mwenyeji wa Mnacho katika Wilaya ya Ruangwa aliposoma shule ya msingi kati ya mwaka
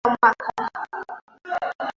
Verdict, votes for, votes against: rejected, 0, 2